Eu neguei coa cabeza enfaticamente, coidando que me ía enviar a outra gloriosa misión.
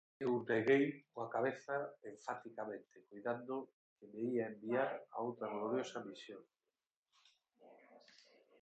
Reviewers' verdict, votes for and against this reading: rejected, 2, 4